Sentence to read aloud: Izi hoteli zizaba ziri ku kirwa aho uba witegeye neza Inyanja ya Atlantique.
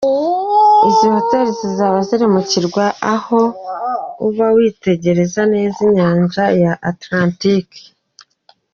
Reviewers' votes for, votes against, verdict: 2, 0, accepted